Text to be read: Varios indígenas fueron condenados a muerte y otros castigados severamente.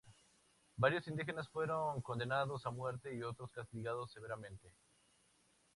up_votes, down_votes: 4, 0